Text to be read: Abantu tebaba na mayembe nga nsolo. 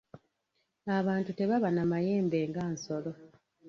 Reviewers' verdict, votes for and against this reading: rejected, 1, 2